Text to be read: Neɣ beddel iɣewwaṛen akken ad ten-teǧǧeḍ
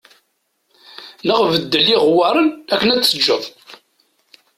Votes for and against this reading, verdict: 0, 2, rejected